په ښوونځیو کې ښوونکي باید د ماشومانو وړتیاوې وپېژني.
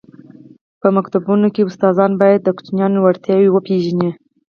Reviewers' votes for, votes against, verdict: 2, 4, rejected